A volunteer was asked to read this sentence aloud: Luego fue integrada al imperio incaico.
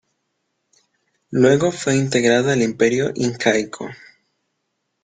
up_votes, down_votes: 0, 2